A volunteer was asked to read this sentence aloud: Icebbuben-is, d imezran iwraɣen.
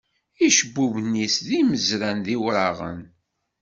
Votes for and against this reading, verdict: 2, 0, accepted